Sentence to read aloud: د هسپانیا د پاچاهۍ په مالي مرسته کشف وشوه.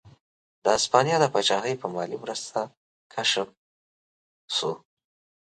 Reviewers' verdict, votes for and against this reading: rejected, 2, 4